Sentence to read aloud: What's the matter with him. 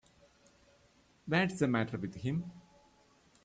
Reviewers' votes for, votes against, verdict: 1, 2, rejected